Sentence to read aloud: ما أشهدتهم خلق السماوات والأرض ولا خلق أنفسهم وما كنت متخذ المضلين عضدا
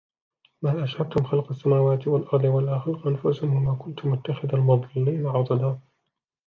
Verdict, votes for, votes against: rejected, 1, 2